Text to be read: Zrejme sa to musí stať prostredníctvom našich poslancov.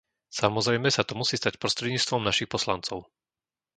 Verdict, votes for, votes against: rejected, 0, 2